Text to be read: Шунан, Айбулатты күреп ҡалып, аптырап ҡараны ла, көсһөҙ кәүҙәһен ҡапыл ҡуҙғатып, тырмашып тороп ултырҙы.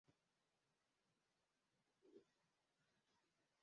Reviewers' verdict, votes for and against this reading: rejected, 0, 2